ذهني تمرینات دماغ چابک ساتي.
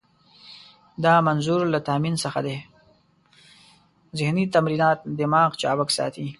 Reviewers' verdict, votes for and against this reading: rejected, 1, 2